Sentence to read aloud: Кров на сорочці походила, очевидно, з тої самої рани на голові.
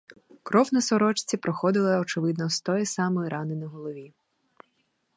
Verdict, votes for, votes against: rejected, 0, 4